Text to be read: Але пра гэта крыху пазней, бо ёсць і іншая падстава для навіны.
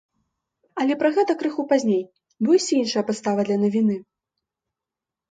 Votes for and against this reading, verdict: 2, 0, accepted